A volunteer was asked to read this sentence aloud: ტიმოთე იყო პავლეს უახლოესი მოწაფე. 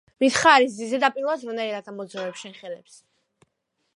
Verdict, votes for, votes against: rejected, 0, 2